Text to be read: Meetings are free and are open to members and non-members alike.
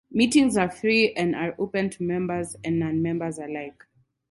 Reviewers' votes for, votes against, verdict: 4, 0, accepted